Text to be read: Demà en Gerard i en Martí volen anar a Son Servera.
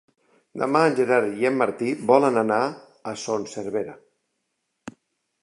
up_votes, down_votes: 3, 0